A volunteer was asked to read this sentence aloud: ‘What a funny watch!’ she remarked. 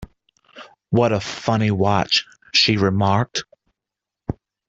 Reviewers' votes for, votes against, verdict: 2, 0, accepted